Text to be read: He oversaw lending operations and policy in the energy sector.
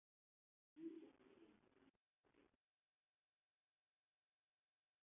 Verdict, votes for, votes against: rejected, 1, 2